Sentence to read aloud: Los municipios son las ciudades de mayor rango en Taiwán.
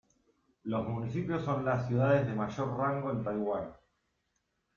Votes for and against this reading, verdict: 2, 1, accepted